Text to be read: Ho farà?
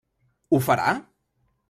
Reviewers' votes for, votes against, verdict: 3, 0, accepted